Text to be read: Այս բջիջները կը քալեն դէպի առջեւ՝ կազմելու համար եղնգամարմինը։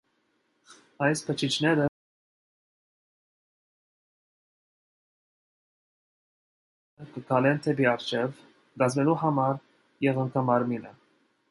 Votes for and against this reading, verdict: 0, 2, rejected